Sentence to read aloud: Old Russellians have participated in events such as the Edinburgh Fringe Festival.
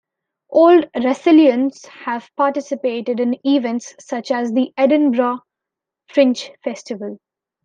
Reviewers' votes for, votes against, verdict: 2, 0, accepted